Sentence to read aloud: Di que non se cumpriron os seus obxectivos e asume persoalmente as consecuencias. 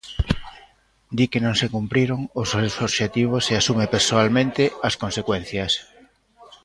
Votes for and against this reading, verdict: 0, 2, rejected